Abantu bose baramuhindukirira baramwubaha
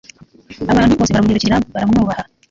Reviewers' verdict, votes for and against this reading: rejected, 0, 2